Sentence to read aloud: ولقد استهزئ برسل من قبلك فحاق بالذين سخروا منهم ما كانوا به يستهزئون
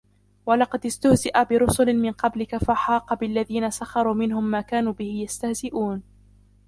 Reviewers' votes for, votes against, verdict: 0, 2, rejected